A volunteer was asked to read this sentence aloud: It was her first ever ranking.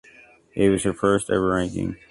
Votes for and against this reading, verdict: 2, 0, accepted